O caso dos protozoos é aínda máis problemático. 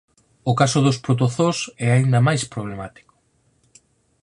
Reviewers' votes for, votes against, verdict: 4, 0, accepted